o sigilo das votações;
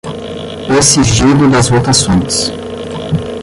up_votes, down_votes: 0, 10